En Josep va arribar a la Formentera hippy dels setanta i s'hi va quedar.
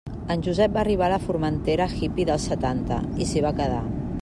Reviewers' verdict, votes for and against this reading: accepted, 2, 0